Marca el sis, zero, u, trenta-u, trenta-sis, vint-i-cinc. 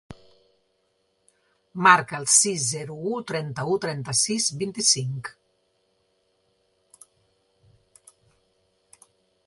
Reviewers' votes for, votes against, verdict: 2, 0, accepted